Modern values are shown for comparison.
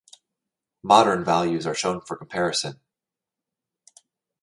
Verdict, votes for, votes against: rejected, 1, 2